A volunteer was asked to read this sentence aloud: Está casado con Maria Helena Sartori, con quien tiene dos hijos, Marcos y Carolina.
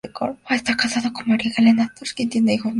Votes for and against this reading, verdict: 0, 2, rejected